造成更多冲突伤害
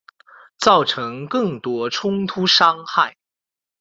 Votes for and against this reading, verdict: 3, 1, accepted